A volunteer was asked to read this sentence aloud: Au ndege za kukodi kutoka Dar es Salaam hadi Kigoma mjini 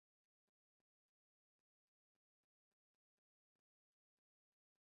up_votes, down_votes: 0, 2